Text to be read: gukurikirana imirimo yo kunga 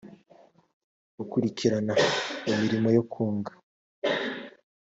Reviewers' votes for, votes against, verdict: 2, 1, accepted